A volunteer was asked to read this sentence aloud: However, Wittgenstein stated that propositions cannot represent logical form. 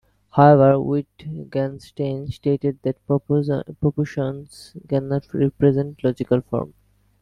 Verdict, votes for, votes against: rejected, 0, 2